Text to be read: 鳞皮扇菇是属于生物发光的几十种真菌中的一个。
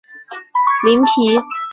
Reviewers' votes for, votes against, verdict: 0, 2, rejected